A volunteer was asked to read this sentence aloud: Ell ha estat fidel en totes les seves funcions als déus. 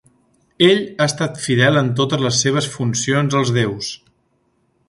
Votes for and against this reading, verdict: 3, 0, accepted